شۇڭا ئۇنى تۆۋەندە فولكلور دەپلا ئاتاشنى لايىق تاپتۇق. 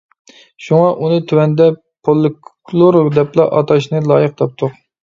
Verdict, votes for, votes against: rejected, 1, 2